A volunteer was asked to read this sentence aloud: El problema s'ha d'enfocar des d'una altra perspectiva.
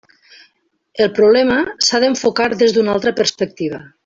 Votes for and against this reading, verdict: 3, 1, accepted